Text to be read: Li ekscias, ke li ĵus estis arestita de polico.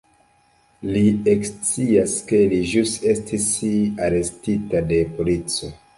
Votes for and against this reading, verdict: 0, 3, rejected